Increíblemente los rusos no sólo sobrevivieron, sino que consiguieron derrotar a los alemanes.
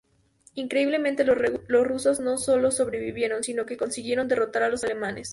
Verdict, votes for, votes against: rejected, 0, 2